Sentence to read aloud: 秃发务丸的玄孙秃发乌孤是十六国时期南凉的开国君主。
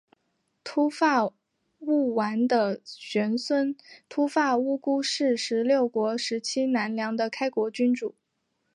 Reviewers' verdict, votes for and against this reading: accepted, 3, 0